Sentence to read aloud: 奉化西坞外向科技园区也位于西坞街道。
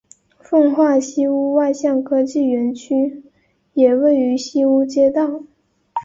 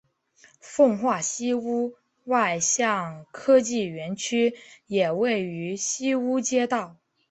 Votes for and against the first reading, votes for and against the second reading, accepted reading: 0, 2, 3, 0, second